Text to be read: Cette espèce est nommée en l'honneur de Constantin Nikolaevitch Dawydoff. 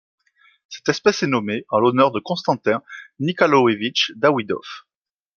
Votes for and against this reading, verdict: 1, 2, rejected